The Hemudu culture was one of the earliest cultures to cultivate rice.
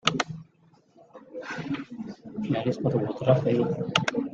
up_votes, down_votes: 0, 2